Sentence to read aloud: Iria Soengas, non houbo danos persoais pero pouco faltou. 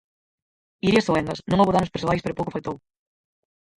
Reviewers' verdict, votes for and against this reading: rejected, 0, 4